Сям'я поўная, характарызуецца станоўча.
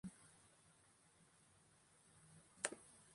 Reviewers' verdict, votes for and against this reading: rejected, 0, 2